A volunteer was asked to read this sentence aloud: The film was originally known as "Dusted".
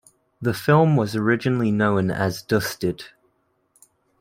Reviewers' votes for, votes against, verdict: 2, 0, accepted